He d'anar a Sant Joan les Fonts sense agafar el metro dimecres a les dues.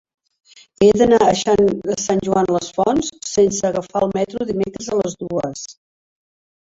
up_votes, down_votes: 0, 2